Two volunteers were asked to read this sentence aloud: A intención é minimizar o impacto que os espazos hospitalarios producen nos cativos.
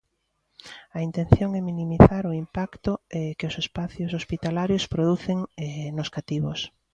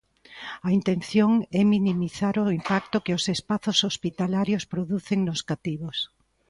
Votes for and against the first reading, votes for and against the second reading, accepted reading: 0, 2, 2, 0, second